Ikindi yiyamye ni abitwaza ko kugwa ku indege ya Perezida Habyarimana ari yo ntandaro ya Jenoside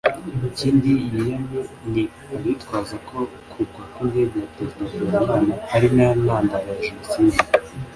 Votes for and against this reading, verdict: 2, 0, accepted